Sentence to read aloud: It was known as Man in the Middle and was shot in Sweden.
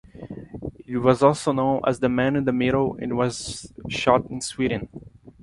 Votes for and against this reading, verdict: 1, 2, rejected